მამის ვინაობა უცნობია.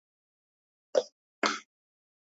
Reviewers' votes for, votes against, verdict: 0, 2, rejected